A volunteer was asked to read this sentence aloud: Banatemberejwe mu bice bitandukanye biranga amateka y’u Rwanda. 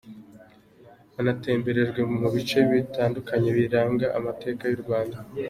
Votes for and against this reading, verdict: 2, 1, accepted